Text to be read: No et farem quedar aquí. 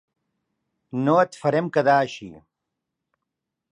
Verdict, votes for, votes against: rejected, 0, 2